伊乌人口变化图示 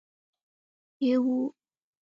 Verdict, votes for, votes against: rejected, 1, 2